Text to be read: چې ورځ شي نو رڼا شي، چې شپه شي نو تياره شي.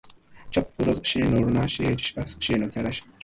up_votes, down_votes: 2, 1